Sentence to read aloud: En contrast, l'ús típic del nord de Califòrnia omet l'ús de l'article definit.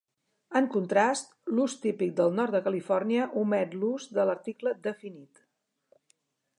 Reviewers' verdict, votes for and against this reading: accepted, 2, 0